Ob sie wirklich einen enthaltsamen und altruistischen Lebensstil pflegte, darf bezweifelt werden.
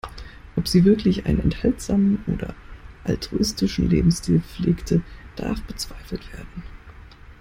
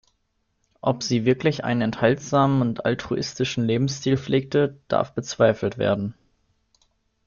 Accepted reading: second